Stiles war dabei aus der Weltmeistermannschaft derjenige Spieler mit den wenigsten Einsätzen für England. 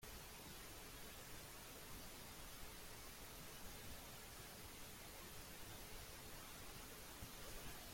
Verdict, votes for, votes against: rejected, 0, 2